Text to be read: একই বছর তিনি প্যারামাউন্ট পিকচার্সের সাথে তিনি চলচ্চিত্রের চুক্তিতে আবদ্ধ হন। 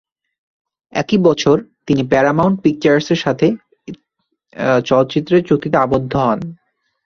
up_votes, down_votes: 0, 2